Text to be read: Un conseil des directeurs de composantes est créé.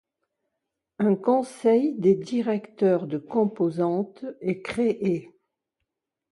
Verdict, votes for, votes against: accepted, 2, 0